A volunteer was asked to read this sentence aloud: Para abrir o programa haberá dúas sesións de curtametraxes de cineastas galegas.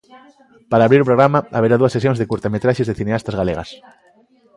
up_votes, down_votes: 1, 2